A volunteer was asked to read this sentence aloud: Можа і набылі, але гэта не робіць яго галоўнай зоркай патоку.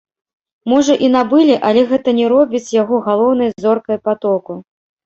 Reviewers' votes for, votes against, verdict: 0, 2, rejected